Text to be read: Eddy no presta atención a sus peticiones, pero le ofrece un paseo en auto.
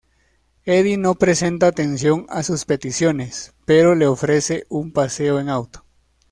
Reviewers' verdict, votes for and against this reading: rejected, 1, 2